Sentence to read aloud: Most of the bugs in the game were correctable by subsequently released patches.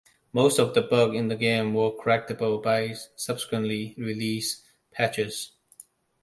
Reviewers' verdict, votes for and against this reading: accepted, 2, 0